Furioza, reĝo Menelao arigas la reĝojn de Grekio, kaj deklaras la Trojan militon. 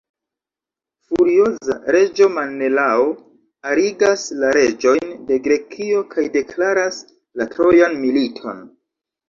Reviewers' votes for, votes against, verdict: 0, 2, rejected